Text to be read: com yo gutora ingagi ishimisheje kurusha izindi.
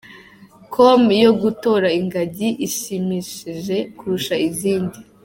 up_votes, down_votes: 3, 1